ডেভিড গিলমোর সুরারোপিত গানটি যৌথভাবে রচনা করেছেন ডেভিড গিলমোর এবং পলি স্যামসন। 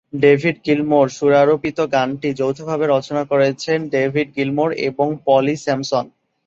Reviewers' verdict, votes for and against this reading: accepted, 2, 0